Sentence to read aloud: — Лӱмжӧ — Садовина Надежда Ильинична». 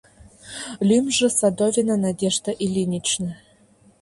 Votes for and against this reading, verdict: 2, 0, accepted